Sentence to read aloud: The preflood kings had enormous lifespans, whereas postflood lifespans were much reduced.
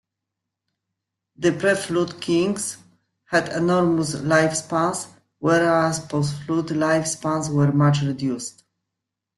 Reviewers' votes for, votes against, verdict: 0, 2, rejected